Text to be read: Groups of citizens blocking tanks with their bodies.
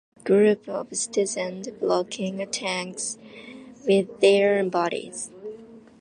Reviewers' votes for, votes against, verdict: 2, 0, accepted